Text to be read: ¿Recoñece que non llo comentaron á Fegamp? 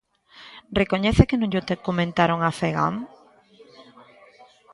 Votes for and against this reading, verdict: 0, 2, rejected